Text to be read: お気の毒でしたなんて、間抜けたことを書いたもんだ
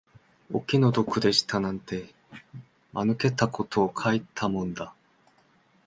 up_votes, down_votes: 2, 0